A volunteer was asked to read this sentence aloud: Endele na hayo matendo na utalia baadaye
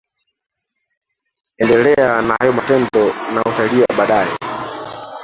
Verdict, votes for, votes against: rejected, 1, 2